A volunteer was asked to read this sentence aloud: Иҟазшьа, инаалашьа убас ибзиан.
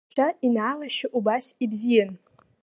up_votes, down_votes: 1, 2